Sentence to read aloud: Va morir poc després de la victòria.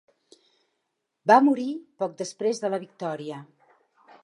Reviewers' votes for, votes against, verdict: 3, 0, accepted